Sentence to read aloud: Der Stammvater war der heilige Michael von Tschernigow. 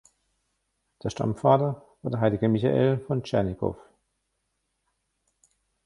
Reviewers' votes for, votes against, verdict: 1, 2, rejected